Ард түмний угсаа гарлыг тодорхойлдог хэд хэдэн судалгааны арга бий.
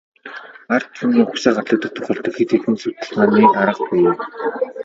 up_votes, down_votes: 0, 2